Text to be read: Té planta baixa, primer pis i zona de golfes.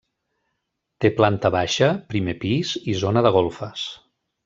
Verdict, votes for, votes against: accepted, 3, 0